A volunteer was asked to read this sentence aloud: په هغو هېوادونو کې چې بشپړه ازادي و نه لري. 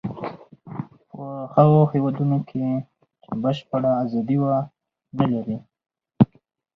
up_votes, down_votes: 2, 0